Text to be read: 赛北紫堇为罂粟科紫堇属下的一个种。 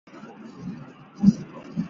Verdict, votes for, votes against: rejected, 0, 2